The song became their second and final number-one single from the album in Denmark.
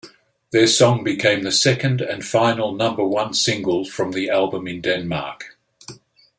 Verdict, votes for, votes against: accepted, 2, 0